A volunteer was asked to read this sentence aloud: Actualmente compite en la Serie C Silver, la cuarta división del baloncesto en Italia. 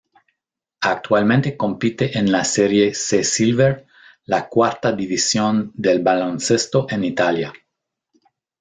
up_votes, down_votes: 1, 2